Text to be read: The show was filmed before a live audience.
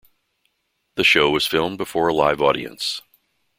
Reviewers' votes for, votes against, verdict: 2, 0, accepted